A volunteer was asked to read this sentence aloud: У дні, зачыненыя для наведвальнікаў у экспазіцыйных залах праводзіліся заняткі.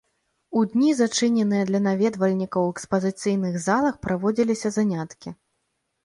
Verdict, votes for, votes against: accepted, 2, 0